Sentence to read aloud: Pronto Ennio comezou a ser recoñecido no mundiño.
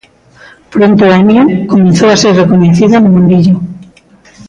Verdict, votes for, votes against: rejected, 0, 2